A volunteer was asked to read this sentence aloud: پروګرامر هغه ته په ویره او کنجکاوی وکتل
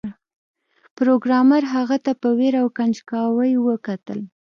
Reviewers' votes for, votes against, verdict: 2, 0, accepted